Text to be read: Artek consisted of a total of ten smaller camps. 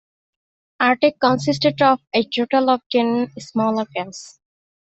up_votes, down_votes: 2, 0